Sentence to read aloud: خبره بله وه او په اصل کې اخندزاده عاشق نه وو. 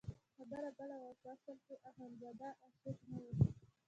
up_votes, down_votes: 1, 2